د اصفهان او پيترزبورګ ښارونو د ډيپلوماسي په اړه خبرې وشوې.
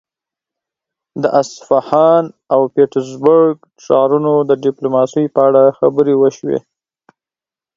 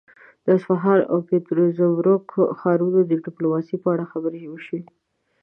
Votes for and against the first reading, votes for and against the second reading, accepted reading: 8, 0, 0, 2, first